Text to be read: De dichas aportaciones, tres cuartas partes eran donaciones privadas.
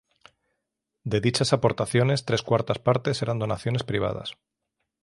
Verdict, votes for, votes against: accepted, 3, 0